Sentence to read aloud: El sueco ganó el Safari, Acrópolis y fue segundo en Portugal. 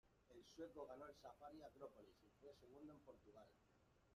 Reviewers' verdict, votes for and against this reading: rejected, 0, 2